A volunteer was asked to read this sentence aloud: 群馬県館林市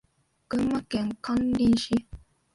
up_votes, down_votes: 1, 2